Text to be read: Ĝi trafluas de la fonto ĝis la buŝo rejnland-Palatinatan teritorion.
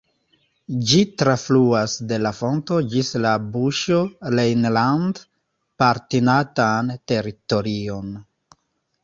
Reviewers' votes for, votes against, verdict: 0, 2, rejected